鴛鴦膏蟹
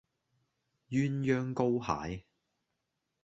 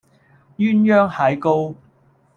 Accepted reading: second